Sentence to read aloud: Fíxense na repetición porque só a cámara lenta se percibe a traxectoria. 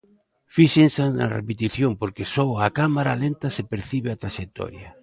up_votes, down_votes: 2, 0